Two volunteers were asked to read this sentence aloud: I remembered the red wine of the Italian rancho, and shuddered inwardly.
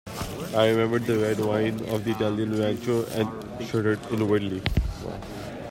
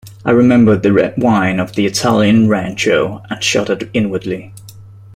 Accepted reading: second